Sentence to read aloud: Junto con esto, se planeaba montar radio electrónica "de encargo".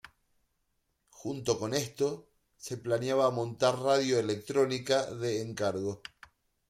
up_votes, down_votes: 2, 0